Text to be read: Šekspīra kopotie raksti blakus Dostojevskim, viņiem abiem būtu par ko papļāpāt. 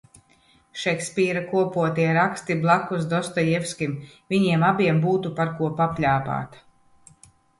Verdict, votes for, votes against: accepted, 2, 0